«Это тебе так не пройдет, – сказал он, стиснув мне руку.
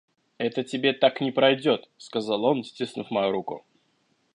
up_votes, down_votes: 0, 2